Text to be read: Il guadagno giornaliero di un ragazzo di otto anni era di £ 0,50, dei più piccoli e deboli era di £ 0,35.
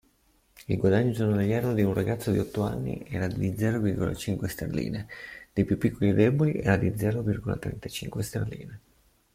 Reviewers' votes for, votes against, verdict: 0, 2, rejected